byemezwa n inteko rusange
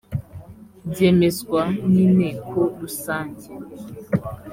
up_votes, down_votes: 2, 0